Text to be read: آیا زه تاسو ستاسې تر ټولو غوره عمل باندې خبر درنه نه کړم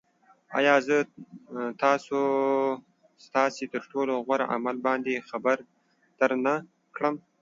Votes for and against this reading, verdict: 2, 0, accepted